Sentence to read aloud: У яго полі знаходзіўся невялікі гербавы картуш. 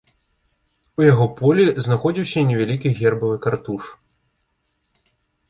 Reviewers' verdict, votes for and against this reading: accepted, 2, 0